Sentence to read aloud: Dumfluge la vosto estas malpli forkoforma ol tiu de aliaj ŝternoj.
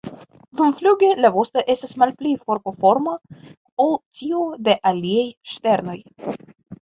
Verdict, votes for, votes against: accepted, 2, 1